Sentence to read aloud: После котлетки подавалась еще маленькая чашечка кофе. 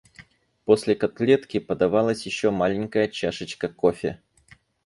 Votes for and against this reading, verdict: 2, 2, rejected